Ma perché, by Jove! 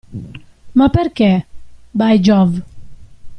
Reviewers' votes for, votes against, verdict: 2, 1, accepted